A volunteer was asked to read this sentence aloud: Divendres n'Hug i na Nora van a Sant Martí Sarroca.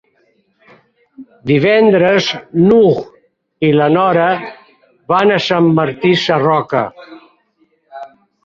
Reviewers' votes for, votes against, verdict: 0, 2, rejected